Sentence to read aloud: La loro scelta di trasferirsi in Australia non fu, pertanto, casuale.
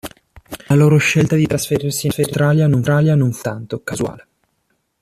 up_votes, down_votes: 0, 2